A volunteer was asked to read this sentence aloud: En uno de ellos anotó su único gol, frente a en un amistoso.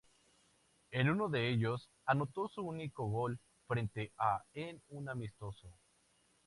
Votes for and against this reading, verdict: 0, 2, rejected